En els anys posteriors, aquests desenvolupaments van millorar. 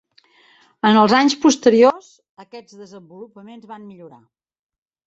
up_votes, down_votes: 1, 2